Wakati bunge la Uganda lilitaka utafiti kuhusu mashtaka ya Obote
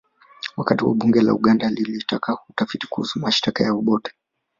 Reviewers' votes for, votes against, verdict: 1, 2, rejected